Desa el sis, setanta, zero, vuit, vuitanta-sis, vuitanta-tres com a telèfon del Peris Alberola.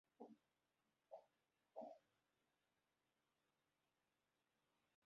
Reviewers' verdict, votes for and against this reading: rejected, 1, 2